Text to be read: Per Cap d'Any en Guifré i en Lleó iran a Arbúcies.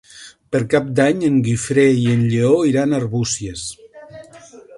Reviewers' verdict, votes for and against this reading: rejected, 0, 2